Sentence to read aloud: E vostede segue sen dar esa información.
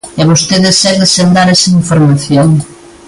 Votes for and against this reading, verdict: 2, 0, accepted